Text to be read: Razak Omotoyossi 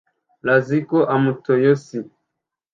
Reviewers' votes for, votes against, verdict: 0, 2, rejected